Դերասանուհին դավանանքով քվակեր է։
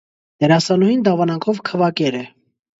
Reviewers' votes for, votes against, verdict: 2, 0, accepted